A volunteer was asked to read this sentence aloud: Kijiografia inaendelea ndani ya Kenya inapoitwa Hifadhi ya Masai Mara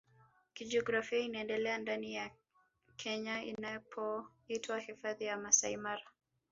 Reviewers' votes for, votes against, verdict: 2, 0, accepted